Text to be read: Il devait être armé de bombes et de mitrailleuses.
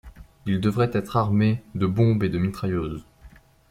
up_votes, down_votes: 1, 2